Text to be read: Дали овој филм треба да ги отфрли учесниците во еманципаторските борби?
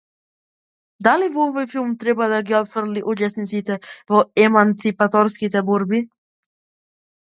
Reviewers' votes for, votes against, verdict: 0, 2, rejected